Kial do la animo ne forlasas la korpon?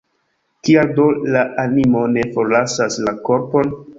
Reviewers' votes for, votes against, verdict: 1, 2, rejected